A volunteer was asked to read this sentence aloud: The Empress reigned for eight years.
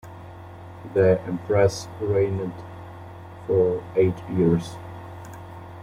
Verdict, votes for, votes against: rejected, 0, 2